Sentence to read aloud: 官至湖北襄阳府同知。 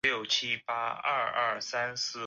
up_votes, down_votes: 0, 2